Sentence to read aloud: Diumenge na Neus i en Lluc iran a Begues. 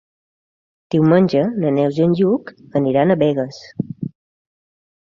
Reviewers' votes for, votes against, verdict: 0, 2, rejected